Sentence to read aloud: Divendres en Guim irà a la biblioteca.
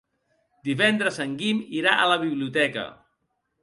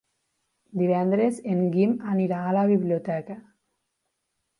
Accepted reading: first